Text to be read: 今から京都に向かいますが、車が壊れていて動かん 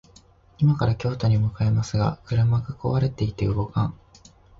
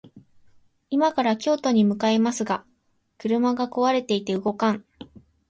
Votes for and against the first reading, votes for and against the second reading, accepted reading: 0, 2, 2, 0, second